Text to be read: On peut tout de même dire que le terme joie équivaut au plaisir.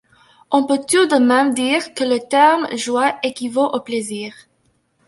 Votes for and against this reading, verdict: 2, 1, accepted